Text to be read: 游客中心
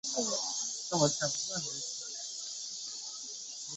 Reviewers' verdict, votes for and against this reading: rejected, 0, 3